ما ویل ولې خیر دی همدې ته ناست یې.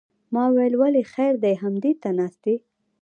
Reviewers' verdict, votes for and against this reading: rejected, 0, 2